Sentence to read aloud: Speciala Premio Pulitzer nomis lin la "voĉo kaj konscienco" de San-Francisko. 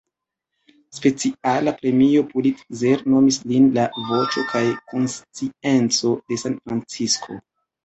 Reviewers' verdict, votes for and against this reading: rejected, 1, 2